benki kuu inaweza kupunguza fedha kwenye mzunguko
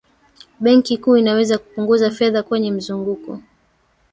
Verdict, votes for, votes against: rejected, 1, 2